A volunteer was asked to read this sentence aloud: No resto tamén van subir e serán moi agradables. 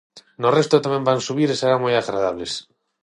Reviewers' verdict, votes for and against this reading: accepted, 6, 0